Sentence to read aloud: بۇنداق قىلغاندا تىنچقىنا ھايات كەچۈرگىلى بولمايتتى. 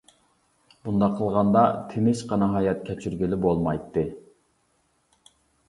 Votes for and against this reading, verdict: 2, 0, accepted